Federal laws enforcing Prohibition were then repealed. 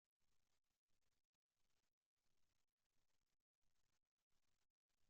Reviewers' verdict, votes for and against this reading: rejected, 0, 2